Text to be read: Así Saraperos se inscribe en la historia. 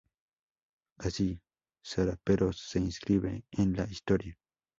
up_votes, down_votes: 2, 0